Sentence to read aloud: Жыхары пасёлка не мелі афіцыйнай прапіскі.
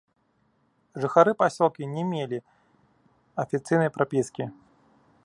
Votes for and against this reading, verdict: 1, 2, rejected